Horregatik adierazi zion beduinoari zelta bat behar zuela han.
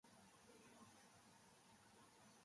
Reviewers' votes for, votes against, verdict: 0, 2, rejected